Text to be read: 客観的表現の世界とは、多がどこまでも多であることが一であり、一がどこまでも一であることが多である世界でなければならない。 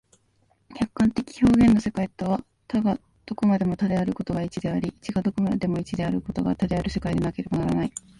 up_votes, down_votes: 1, 2